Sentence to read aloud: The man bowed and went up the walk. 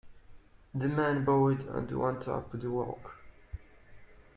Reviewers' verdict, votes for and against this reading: rejected, 1, 2